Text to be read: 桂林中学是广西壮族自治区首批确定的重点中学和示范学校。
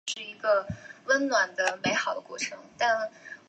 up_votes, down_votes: 0, 2